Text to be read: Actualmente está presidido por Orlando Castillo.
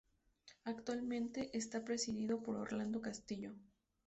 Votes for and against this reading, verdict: 2, 0, accepted